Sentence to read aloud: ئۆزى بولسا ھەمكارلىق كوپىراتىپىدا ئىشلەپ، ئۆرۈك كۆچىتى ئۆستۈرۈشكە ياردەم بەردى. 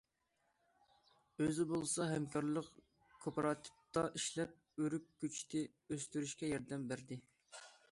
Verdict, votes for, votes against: accepted, 2, 0